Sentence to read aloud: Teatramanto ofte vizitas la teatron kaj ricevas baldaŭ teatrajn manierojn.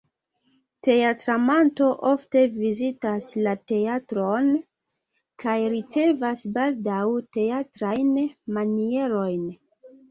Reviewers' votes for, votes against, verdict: 2, 0, accepted